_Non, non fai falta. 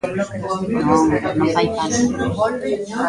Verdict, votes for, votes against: rejected, 0, 2